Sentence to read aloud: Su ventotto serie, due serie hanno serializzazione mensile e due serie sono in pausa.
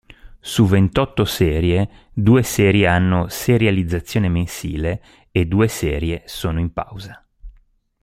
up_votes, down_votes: 2, 0